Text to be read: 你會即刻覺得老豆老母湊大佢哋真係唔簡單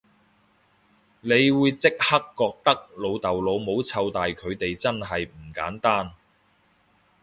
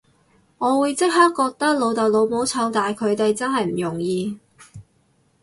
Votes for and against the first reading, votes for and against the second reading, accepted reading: 2, 0, 0, 2, first